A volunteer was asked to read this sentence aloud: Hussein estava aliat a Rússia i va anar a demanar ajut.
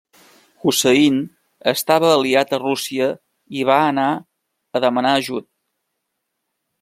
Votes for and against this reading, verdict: 2, 0, accepted